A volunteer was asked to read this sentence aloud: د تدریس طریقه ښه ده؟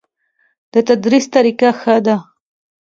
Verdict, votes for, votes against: accepted, 2, 0